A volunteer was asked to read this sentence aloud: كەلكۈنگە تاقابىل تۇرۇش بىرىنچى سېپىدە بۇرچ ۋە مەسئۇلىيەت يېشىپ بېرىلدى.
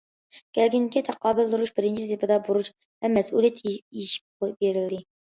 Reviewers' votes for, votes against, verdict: 1, 2, rejected